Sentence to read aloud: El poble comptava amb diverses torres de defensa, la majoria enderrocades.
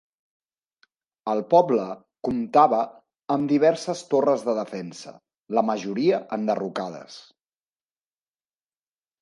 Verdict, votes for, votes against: accepted, 4, 0